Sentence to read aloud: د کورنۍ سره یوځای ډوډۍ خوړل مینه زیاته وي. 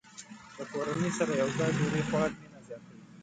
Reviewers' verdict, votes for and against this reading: rejected, 0, 2